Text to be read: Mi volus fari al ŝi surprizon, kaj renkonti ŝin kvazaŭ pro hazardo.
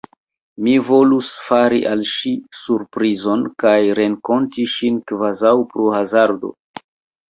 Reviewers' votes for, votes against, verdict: 2, 1, accepted